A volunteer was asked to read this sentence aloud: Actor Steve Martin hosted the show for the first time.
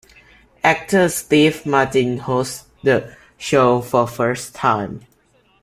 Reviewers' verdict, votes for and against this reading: rejected, 0, 2